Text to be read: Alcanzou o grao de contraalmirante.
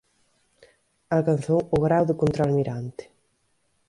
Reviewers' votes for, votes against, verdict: 2, 0, accepted